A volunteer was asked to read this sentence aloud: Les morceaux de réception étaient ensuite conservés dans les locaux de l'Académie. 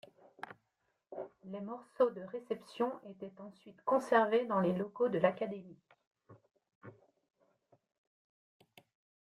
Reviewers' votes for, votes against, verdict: 2, 1, accepted